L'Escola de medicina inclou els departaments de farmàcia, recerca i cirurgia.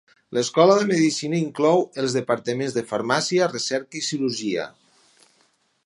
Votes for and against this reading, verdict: 4, 0, accepted